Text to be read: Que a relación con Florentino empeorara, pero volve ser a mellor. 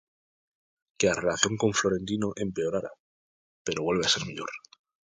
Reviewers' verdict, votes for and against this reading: rejected, 0, 2